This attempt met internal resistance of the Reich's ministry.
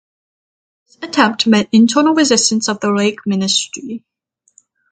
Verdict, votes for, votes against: rejected, 3, 3